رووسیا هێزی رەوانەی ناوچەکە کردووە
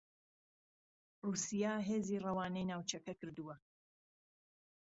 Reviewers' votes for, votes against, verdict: 2, 0, accepted